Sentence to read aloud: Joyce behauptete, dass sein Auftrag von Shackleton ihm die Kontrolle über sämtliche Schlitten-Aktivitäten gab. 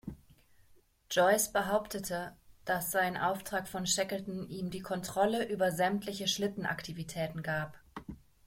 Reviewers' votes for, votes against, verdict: 2, 0, accepted